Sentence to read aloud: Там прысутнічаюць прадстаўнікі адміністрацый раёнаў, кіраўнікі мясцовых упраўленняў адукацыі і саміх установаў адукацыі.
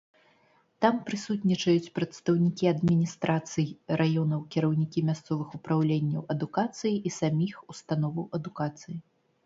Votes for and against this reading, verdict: 2, 0, accepted